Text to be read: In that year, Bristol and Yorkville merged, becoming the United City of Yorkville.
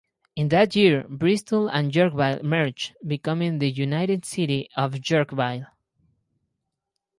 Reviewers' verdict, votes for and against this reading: rejected, 0, 4